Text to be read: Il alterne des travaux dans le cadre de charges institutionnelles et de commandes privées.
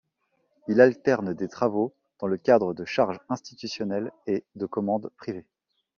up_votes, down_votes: 2, 0